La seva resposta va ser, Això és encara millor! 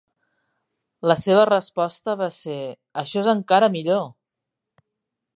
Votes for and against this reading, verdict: 2, 0, accepted